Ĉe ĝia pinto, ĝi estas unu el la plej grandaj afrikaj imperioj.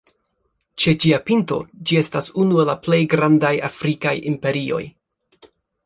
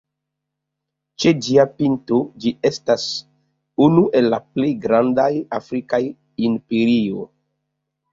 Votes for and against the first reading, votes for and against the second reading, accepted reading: 3, 0, 0, 2, first